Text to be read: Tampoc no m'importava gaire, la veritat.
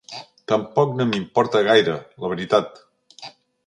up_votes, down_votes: 2, 3